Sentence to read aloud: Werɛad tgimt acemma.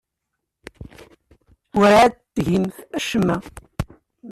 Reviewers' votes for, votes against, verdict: 1, 2, rejected